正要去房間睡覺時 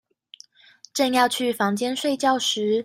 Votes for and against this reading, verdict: 2, 0, accepted